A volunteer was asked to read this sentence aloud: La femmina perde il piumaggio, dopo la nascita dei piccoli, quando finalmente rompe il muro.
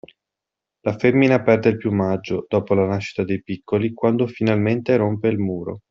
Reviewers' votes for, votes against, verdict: 2, 0, accepted